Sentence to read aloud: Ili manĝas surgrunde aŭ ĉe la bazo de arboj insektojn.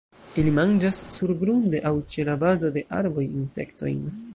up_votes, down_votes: 0, 2